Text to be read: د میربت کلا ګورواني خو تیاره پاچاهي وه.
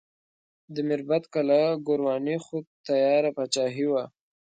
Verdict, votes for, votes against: accepted, 2, 0